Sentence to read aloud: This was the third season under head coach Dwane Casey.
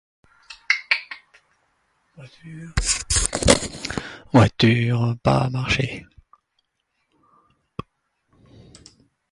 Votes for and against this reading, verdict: 0, 2, rejected